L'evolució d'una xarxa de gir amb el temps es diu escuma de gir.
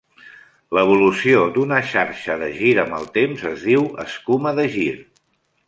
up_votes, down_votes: 3, 0